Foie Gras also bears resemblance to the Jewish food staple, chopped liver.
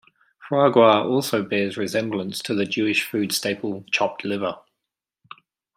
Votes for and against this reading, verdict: 2, 1, accepted